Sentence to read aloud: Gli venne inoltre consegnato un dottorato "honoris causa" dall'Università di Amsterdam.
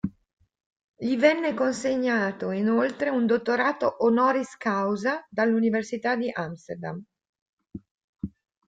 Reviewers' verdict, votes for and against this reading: rejected, 0, 2